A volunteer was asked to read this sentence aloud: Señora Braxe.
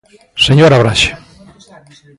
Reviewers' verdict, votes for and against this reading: accepted, 2, 0